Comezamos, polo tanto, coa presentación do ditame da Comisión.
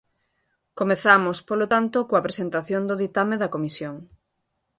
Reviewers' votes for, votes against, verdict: 2, 0, accepted